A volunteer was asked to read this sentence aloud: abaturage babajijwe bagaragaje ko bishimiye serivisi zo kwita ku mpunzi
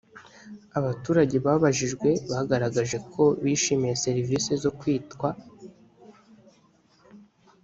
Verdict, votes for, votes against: rejected, 0, 2